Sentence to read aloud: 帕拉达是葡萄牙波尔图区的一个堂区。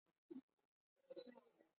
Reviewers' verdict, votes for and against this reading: rejected, 0, 2